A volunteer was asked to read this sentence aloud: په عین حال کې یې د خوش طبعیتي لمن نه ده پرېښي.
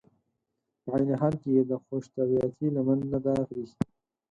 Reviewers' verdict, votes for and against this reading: rejected, 0, 4